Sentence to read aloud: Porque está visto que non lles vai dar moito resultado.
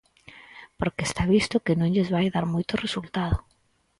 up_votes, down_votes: 4, 0